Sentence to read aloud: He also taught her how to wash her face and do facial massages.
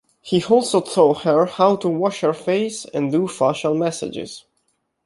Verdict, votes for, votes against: accepted, 2, 0